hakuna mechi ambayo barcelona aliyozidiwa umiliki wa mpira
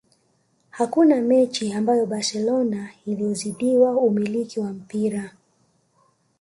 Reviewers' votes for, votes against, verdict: 1, 2, rejected